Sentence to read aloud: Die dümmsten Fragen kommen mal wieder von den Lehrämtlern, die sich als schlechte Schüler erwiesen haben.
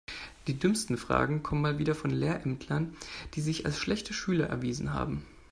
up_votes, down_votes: 1, 2